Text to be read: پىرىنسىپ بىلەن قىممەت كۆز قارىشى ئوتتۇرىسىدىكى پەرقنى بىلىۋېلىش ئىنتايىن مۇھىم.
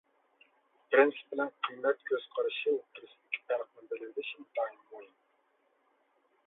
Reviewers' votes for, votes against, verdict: 2, 1, accepted